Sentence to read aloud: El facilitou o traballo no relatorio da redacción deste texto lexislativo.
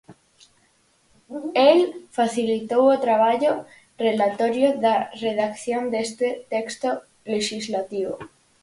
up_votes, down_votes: 0, 4